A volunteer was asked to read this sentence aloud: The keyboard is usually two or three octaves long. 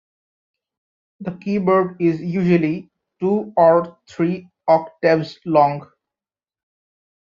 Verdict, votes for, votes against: accepted, 2, 0